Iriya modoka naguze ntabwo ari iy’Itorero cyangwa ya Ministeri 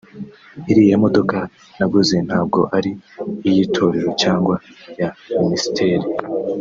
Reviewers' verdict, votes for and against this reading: accepted, 2, 0